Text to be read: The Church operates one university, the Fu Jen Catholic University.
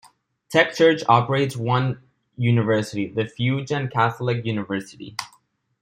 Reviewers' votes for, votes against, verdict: 2, 0, accepted